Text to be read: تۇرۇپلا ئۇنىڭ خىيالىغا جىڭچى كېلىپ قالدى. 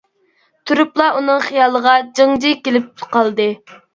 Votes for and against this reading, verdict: 0, 2, rejected